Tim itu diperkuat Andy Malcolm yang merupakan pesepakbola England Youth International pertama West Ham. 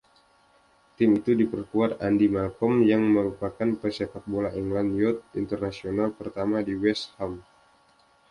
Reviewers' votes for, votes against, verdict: 2, 1, accepted